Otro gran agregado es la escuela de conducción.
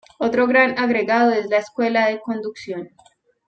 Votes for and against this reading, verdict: 2, 0, accepted